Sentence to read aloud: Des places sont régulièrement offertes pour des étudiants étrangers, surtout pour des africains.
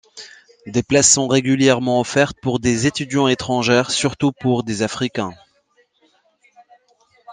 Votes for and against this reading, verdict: 0, 2, rejected